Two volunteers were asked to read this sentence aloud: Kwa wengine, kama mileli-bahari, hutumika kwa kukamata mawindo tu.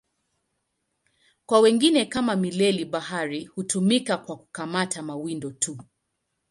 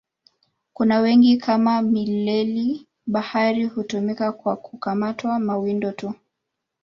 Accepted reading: first